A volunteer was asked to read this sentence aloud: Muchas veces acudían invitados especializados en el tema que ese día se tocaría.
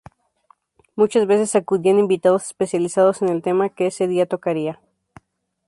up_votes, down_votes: 0, 2